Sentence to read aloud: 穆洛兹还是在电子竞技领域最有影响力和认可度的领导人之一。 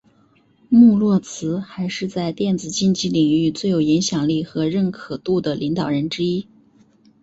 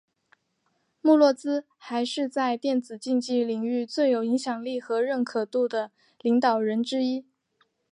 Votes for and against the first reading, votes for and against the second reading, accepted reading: 2, 0, 0, 2, first